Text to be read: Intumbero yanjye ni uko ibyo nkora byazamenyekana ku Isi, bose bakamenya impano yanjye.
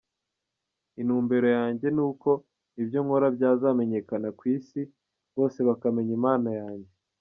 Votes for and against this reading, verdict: 2, 0, accepted